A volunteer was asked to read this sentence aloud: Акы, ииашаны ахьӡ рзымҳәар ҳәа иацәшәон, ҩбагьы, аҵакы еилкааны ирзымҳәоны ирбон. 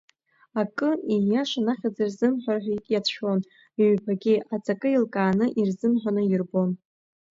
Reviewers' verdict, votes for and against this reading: accepted, 2, 0